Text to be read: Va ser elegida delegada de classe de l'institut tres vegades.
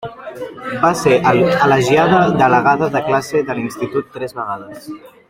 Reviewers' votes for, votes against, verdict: 0, 2, rejected